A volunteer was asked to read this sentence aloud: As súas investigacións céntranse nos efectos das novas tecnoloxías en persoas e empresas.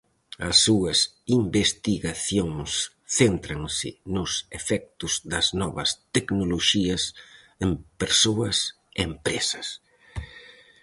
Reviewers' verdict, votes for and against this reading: accepted, 4, 0